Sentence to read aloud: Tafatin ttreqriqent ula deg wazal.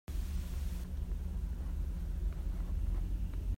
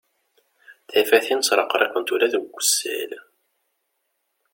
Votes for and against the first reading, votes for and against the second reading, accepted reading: 0, 2, 2, 0, second